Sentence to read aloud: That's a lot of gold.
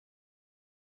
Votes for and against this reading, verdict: 0, 3, rejected